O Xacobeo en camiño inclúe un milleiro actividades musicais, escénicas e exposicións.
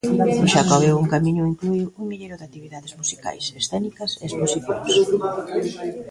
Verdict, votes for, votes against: rejected, 0, 2